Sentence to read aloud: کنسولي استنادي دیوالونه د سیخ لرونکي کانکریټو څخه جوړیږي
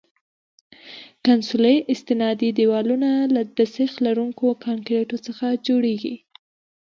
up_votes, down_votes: 3, 0